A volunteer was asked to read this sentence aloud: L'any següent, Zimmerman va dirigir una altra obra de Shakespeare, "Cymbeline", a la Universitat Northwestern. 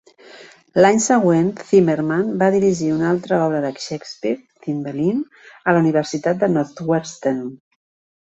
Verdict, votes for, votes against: rejected, 0, 2